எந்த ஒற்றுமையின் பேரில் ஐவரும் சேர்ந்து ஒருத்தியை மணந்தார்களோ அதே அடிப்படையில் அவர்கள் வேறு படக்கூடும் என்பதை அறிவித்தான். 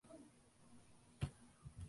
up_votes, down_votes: 0, 2